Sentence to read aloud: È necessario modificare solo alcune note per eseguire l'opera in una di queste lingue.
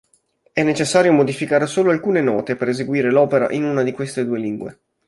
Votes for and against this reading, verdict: 2, 3, rejected